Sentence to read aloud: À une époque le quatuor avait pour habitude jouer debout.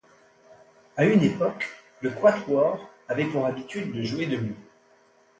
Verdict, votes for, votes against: rejected, 1, 2